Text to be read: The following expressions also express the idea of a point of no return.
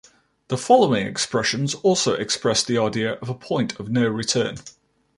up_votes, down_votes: 2, 0